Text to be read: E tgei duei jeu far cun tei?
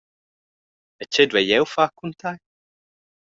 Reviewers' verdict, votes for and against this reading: accepted, 2, 0